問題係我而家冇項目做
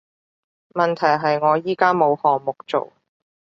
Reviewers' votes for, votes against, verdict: 1, 2, rejected